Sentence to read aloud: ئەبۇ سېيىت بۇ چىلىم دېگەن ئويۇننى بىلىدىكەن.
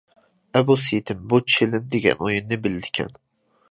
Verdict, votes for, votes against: rejected, 0, 2